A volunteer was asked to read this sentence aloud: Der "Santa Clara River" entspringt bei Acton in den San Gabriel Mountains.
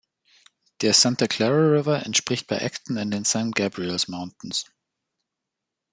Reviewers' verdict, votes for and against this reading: rejected, 1, 2